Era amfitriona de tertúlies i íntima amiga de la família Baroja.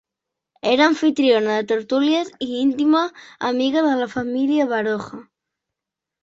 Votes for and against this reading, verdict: 0, 2, rejected